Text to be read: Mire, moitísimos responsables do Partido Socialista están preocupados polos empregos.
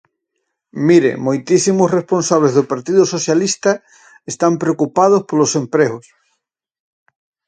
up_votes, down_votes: 4, 0